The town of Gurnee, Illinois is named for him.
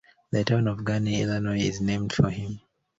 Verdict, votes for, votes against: rejected, 1, 2